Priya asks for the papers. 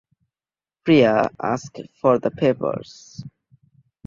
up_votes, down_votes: 0, 2